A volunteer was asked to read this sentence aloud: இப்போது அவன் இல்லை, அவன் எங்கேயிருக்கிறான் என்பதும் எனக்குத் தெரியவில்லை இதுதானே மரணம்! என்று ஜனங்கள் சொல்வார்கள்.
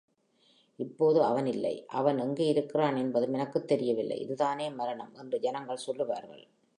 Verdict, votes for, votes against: accepted, 2, 0